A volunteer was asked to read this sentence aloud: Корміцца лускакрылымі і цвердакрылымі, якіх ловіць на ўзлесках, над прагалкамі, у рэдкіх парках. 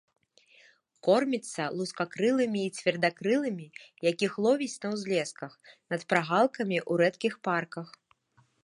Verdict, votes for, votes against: accepted, 2, 0